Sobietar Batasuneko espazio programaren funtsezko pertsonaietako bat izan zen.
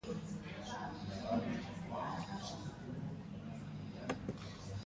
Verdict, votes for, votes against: rejected, 0, 2